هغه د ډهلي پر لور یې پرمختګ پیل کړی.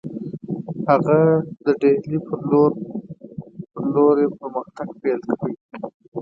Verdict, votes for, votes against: rejected, 1, 2